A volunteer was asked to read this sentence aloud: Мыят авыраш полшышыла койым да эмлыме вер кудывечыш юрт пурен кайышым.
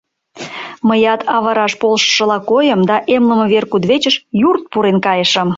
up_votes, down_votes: 2, 0